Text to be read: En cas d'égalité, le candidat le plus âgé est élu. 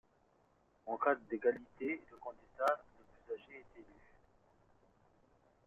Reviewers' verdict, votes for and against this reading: accepted, 2, 0